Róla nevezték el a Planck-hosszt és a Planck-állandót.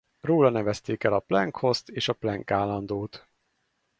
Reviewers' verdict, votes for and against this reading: rejected, 2, 2